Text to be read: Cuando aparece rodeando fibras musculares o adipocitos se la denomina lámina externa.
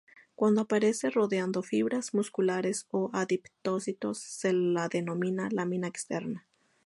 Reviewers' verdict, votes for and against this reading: rejected, 0, 2